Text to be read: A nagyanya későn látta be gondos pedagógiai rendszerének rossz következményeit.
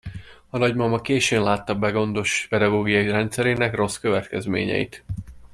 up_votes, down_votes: 1, 2